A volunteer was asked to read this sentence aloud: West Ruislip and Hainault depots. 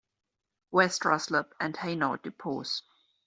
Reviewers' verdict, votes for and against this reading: rejected, 1, 2